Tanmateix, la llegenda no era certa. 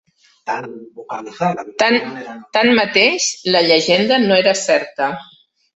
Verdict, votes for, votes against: rejected, 0, 2